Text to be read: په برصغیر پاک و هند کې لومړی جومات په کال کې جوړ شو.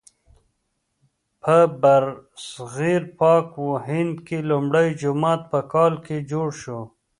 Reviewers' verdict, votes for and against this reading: rejected, 0, 2